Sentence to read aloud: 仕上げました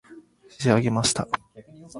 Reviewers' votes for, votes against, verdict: 3, 0, accepted